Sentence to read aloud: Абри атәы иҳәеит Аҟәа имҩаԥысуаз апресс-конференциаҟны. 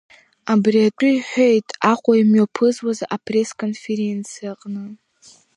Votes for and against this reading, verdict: 2, 0, accepted